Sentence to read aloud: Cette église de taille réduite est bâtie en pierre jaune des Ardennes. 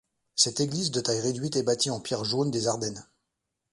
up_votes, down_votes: 2, 0